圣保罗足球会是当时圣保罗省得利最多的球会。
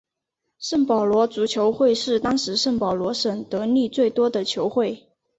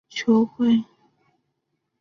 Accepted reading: first